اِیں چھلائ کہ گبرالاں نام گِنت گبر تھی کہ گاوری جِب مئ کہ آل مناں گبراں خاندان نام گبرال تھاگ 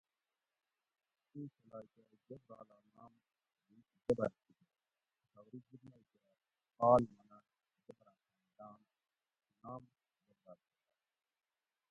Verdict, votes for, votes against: rejected, 0, 2